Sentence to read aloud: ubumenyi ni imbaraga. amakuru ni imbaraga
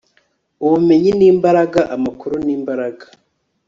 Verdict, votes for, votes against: rejected, 1, 2